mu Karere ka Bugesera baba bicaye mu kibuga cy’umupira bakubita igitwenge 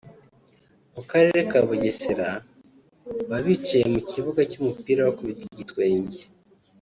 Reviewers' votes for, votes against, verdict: 1, 2, rejected